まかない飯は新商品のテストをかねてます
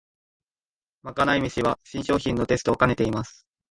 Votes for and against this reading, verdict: 0, 2, rejected